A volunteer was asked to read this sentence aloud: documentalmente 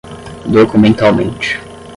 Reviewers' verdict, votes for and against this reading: accepted, 5, 0